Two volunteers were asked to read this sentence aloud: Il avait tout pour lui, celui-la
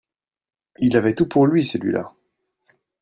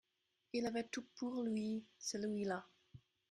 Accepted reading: first